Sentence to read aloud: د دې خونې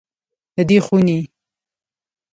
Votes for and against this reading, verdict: 1, 2, rejected